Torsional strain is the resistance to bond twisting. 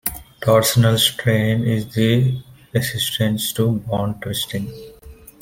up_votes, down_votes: 2, 0